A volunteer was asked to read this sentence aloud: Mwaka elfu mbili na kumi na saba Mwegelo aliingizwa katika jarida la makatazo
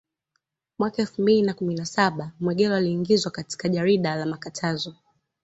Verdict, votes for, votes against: accepted, 2, 0